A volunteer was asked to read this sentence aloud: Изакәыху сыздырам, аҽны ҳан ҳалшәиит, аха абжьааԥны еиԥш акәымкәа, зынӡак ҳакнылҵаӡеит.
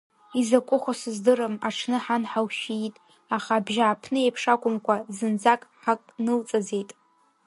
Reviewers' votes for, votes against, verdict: 1, 2, rejected